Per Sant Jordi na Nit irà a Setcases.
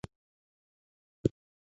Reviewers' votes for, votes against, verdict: 0, 2, rejected